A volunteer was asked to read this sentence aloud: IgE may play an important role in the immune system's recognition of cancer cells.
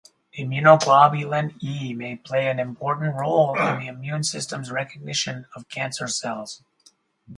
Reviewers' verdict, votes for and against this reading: rejected, 0, 2